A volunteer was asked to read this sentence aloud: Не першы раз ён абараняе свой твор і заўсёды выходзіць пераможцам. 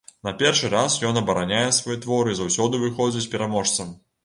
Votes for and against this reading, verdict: 2, 1, accepted